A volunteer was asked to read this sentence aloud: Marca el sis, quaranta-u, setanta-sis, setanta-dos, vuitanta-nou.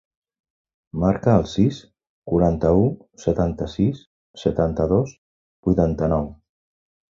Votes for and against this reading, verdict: 3, 0, accepted